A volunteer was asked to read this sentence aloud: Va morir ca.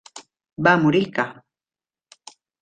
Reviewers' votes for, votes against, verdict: 3, 0, accepted